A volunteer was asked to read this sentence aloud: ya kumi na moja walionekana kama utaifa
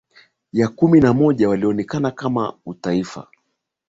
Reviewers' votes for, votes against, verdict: 3, 0, accepted